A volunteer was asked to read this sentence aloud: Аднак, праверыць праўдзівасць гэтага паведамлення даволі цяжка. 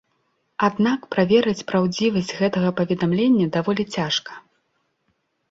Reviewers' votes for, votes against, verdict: 2, 0, accepted